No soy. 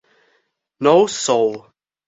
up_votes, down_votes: 0, 2